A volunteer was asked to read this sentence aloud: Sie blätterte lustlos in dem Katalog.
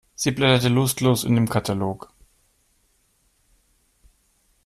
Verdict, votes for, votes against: accepted, 2, 0